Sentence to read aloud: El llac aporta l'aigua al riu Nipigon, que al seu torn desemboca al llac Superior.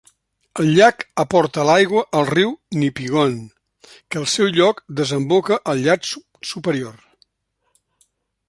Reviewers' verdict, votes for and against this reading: rejected, 0, 2